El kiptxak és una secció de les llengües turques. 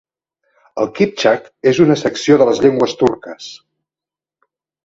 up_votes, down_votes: 2, 0